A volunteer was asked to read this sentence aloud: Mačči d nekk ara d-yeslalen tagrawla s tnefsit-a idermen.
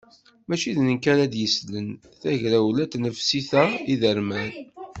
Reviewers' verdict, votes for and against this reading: rejected, 1, 2